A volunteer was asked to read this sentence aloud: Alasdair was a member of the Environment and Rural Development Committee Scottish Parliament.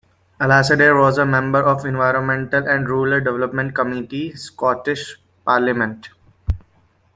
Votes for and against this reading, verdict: 2, 0, accepted